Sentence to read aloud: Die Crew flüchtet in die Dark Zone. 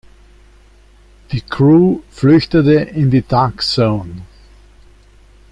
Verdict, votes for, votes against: rejected, 1, 2